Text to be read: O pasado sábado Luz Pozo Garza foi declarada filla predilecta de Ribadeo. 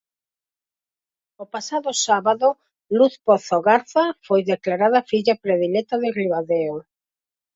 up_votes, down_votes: 4, 0